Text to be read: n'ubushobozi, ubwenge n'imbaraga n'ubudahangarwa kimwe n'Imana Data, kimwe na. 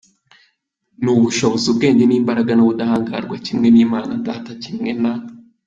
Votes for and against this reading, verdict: 3, 0, accepted